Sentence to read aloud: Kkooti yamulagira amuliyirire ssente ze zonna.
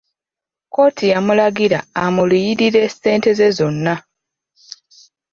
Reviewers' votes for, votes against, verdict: 0, 2, rejected